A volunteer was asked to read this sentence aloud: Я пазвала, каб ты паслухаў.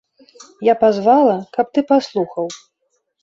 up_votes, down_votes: 2, 0